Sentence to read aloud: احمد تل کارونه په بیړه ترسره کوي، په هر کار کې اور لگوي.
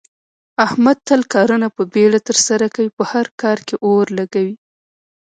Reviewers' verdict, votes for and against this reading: rejected, 0, 2